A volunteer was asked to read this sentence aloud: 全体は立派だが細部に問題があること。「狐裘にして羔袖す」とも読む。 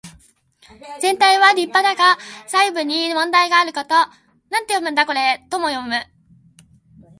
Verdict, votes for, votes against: rejected, 1, 2